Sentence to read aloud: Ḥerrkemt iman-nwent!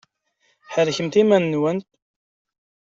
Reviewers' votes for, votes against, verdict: 1, 2, rejected